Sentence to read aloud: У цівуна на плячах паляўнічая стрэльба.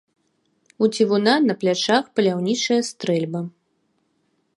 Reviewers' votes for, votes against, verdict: 2, 0, accepted